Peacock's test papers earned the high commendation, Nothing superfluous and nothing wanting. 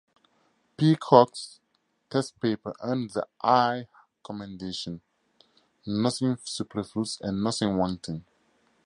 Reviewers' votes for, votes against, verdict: 4, 0, accepted